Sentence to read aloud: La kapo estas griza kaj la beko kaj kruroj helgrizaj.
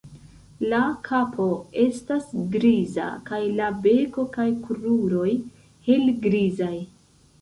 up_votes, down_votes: 2, 0